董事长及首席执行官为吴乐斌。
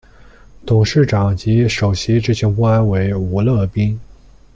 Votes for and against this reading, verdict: 2, 0, accepted